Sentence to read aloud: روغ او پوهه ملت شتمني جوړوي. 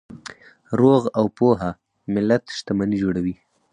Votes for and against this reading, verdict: 4, 0, accepted